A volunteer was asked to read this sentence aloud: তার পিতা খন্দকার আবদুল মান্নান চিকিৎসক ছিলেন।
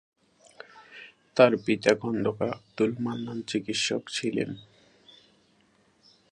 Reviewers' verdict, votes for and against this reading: rejected, 2, 2